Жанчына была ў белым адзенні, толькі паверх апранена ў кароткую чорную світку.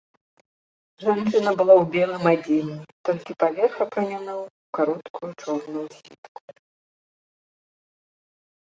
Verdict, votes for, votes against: rejected, 0, 2